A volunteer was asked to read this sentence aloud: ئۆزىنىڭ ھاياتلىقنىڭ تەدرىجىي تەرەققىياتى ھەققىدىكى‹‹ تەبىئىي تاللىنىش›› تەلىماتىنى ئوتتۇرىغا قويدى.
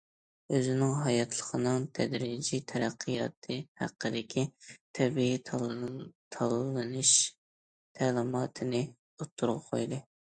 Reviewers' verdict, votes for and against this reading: rejected, 0, 2